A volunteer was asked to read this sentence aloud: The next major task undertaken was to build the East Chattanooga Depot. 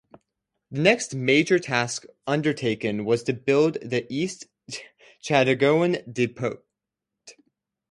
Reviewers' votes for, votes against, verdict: 0, 4, rejected